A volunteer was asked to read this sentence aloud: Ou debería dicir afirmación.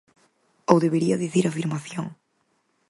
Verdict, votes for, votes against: accepted, 4, 0